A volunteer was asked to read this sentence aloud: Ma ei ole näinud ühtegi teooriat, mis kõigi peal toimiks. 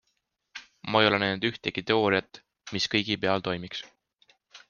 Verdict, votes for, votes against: accepted, 2, 0